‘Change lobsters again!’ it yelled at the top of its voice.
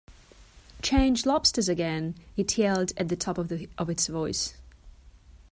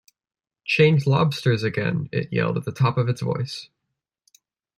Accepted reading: second